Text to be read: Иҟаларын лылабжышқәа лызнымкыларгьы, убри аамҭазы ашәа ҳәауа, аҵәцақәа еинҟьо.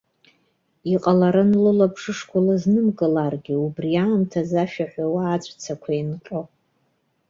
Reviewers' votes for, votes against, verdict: 2, 0, accepted